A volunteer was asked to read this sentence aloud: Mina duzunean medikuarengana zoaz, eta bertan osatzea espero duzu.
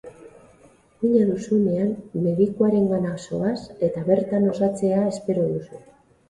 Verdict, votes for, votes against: rejected, 2, 2